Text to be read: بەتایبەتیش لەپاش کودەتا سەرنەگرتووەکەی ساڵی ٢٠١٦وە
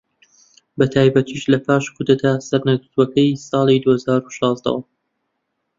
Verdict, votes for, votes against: rejected, 0, 2